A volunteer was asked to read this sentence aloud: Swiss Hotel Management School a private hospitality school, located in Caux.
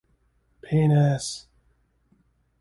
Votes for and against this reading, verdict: 0, 2, rejected